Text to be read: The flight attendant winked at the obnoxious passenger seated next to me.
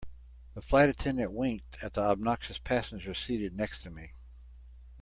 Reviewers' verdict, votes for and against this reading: accepted, 2, 0